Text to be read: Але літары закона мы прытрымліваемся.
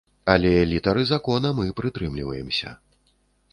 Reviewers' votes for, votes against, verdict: 2, 0, accepted